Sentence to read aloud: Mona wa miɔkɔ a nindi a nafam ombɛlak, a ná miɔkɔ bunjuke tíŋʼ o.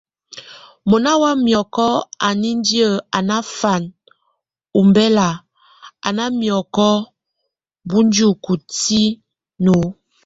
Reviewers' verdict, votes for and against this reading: accepted, 2, 1